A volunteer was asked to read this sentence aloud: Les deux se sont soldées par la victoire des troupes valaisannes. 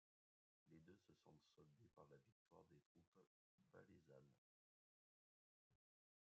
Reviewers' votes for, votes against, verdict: 1, 2, rejected